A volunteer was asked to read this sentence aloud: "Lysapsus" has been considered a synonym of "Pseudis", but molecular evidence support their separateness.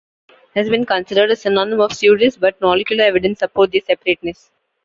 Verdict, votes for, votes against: rejected, 0, 2